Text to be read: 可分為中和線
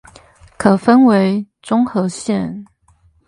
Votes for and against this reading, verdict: 0, 4, rejected